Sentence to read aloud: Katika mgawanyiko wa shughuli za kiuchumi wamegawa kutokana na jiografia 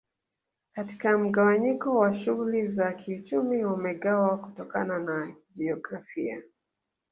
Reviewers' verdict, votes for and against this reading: rejected, 1, 2